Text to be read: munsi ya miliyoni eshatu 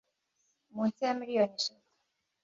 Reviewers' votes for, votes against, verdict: 2, 0, accepted